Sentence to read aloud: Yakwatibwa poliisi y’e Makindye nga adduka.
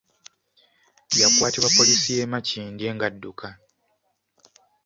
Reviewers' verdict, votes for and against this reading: accepted, 2, 0